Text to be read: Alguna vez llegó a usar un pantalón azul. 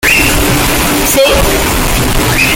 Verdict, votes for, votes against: rejected, 0, 2